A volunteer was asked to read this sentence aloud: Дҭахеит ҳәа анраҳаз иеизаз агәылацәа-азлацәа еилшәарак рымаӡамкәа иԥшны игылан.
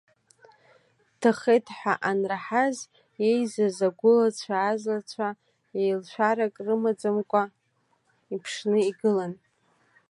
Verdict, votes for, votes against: accepted, 2, 0